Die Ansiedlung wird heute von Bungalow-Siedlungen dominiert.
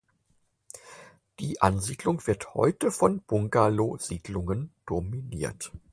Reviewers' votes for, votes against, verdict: 4, 0, accepted